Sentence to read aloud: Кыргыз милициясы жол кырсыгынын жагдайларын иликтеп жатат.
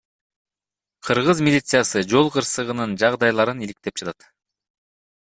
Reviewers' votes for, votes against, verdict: 2, 1, accepted